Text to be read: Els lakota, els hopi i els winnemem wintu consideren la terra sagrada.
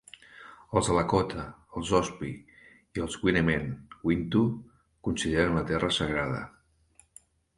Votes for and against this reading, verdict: 1, 2, rejected